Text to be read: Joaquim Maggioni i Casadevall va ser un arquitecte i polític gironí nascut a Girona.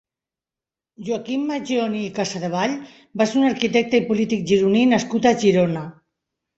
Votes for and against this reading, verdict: 2, 0, accepted